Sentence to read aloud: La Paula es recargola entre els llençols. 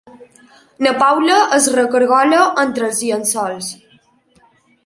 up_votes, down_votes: 3, 0